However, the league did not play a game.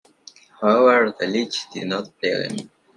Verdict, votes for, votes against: rejected, 0, 2